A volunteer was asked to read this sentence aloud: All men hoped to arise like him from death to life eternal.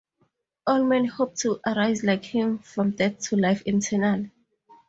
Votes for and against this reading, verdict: 0, 2, rejected